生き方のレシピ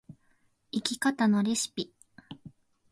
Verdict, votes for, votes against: accepted, 4, 0